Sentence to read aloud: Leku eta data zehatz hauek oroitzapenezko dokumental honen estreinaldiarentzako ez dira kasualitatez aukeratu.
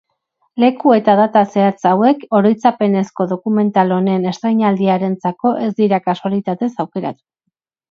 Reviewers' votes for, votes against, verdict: 8, 0, accepted